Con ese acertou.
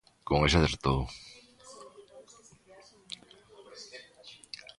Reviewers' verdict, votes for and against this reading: rejected, 1, 2